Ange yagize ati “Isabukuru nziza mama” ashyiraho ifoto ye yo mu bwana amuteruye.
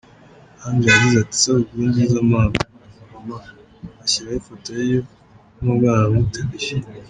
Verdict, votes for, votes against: rejected, 0, 2